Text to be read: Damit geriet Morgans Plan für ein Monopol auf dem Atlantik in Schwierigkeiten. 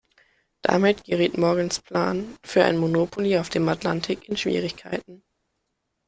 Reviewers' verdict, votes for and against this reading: rejected, 0, 2